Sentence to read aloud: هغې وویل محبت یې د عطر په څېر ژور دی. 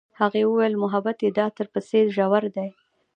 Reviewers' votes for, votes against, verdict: 2, 0, accepted